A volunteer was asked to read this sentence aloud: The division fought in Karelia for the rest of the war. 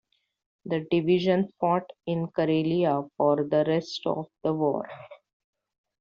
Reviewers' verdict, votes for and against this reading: accepted, 2, 0